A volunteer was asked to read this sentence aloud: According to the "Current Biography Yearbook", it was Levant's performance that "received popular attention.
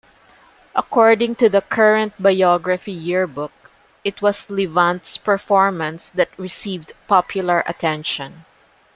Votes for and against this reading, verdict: 2, 0, accepted